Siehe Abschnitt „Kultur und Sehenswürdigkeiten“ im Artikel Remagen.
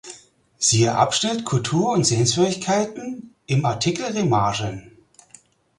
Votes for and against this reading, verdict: 0, 4, rejected